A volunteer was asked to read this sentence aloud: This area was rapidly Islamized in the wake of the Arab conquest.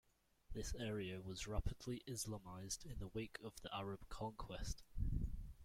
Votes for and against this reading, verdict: 2, 0, accepted